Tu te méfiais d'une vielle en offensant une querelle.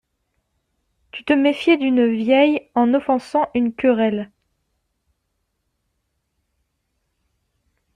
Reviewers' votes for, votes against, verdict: 1, 2, rejected